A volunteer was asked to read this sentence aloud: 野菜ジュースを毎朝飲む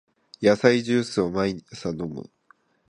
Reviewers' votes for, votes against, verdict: 0, 2, rejected